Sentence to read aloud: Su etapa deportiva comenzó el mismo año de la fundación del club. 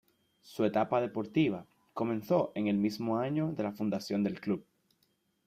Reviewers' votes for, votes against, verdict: 0, 2, rejected